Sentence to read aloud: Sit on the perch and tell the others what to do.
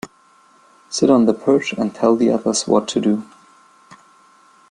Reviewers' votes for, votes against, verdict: 1, 2, rejected